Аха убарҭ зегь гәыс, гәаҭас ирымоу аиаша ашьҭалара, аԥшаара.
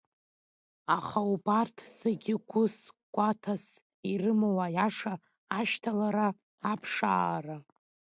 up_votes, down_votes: 2, 1